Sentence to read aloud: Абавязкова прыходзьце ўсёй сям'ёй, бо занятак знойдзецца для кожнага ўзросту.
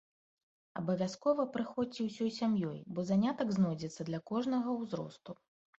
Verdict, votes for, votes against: accepted, 2, 0